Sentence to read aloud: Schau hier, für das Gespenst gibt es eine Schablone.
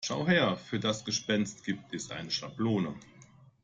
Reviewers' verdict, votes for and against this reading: rejected, 0, 2